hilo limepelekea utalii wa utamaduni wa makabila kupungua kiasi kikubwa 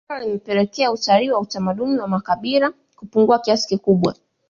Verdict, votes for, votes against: accepted, 2, 1